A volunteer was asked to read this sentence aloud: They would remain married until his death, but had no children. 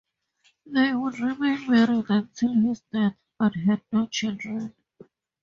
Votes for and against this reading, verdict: 2, 0, accepted